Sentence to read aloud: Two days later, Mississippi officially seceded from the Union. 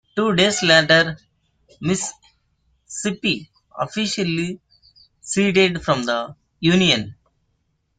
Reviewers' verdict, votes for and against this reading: rejected, 0, 2